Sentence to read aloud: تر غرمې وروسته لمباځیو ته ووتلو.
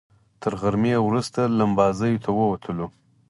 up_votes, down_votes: 4, 0